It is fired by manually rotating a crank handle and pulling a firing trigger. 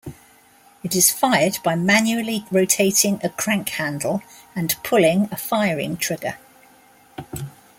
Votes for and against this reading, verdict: 2, 0, accepted